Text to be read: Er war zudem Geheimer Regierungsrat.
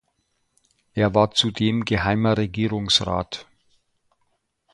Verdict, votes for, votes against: accepted, 2, 0